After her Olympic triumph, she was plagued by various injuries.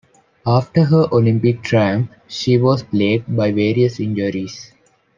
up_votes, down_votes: 2, 0